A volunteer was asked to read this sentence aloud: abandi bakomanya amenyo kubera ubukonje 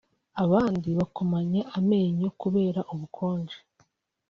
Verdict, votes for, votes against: accepted, 2, 0